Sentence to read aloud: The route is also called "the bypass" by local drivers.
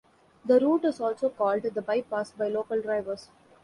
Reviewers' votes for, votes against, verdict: 2, 0, accepted